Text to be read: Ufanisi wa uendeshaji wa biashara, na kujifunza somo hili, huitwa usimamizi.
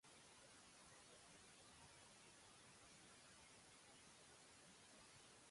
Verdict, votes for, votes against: rejected, 0, 2